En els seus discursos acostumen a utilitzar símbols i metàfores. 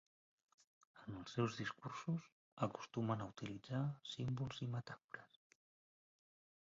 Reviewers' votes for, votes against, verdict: 1, 2, rejected